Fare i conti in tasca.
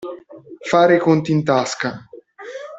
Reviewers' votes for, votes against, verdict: 1, 2, rejected